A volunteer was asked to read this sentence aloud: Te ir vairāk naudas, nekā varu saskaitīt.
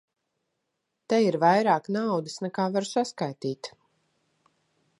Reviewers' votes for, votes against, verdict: 2, 0, accepted